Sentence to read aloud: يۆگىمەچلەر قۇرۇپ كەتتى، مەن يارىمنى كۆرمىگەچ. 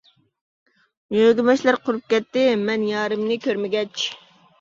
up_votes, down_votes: 2, 0